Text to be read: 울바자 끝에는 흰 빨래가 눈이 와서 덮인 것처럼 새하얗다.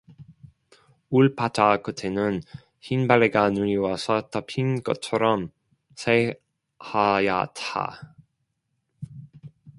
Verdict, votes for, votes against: rejected, 0, 2